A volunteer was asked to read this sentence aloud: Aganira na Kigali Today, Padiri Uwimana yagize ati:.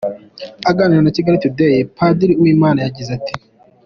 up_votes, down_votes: 2, 0